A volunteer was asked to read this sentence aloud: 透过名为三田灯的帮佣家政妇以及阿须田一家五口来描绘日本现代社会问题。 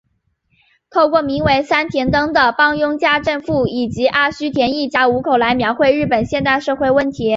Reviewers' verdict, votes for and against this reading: accepted, 3, 0